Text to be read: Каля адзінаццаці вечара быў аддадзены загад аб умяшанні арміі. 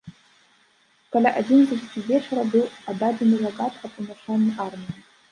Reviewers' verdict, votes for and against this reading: accepted, 2, 1